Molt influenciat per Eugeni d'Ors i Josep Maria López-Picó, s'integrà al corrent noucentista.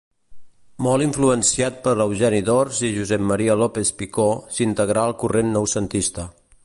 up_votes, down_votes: 2, 0